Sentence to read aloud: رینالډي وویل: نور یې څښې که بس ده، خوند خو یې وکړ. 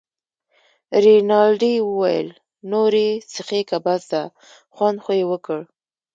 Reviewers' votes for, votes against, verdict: 2, 1, accepted